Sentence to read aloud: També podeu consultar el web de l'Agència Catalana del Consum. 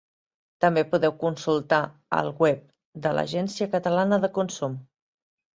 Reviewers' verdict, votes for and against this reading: rejected, 1, 2